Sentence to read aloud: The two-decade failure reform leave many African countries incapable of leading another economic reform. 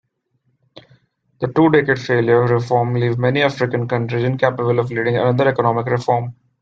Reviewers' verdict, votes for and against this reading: accepted, 2, 1